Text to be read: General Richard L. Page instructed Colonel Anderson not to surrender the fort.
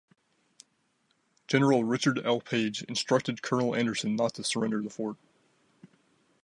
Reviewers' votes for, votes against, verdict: 2, 0, accepted